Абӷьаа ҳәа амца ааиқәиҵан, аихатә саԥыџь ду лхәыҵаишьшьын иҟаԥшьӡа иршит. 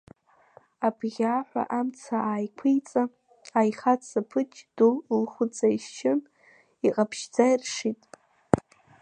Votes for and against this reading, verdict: 2, 1, accepted